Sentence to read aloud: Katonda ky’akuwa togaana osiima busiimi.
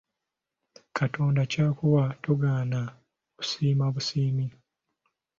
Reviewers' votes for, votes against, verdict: 2, 0, accepted